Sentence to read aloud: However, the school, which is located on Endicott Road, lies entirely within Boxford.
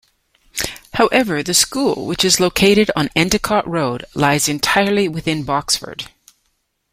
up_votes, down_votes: 2, 0